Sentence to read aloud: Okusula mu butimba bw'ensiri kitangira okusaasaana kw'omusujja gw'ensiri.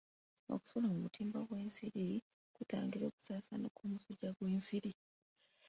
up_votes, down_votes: 1, 2